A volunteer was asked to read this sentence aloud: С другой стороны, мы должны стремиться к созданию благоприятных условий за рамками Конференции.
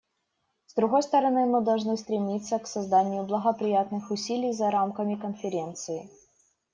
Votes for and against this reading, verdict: 1, 2, rejected